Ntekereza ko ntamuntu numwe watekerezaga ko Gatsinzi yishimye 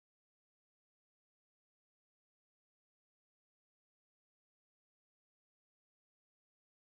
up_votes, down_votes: 2, 0